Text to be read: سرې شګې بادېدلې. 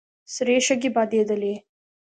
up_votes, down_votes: 1, 2